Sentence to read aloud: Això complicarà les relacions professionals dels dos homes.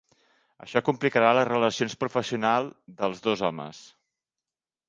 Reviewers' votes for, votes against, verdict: 1, 2, rejected